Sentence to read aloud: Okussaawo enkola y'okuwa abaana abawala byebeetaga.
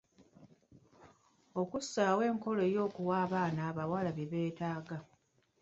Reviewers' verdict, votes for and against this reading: rejected, 1, 2